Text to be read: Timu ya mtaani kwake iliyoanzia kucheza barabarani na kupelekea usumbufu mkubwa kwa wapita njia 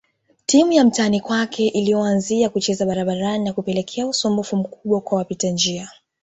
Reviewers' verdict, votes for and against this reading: accepted, 2, 0